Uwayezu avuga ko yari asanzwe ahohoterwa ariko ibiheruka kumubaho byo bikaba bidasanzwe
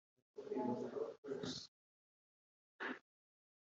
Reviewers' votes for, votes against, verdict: 1, 2, rejected